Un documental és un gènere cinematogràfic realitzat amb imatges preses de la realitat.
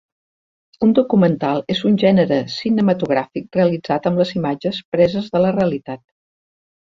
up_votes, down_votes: 0, 2